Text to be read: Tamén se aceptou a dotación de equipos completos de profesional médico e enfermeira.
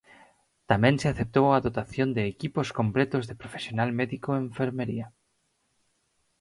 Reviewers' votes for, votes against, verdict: 0, 4, rejected